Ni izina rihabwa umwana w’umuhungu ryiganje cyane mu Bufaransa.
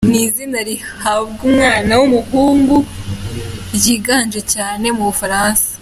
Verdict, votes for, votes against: accepted, 2, 0